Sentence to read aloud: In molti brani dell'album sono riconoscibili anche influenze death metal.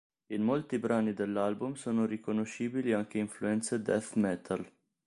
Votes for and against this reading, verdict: 2, 0, accepted